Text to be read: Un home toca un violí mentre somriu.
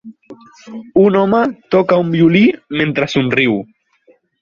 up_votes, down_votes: 4, 0